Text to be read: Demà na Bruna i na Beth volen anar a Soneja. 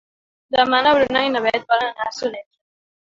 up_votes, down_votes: 2, 1